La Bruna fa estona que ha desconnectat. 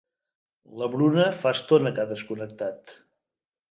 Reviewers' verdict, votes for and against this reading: accepted, 2, 0